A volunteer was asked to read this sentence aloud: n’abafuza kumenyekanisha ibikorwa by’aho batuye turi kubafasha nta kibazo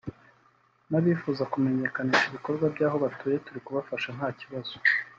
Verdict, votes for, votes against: rejected, 1, 2